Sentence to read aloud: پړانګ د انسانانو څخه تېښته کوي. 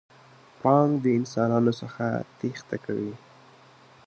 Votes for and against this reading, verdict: 2, 0, accepted